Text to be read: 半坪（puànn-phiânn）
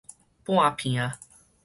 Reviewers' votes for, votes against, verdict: 4, 0, accepted